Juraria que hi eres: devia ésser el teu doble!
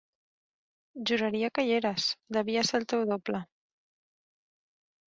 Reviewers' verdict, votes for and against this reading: rejected, 1, 2